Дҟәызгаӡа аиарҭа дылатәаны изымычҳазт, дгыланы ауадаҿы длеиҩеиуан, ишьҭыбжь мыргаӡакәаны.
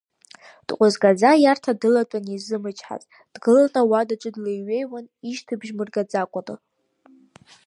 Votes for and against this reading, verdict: 2, 1, accepted